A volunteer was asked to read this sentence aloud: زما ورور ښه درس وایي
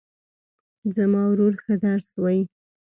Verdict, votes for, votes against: accepted, 2, 0